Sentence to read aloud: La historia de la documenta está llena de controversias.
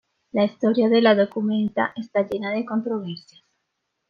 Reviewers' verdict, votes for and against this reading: rejected, 1, 2